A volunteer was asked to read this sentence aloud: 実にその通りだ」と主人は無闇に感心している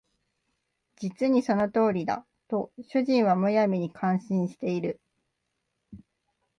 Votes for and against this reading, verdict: 2, 0, accepted